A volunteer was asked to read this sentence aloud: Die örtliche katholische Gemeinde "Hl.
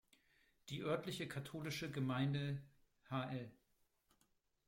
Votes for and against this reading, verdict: 1, 2, rejected